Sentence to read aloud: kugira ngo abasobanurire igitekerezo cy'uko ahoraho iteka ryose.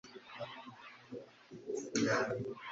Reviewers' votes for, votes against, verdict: 0, 2, rejected